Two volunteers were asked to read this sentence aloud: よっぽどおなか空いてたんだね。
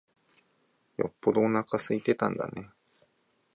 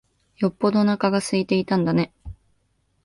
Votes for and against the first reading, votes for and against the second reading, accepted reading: 4, 1, 1, 2, first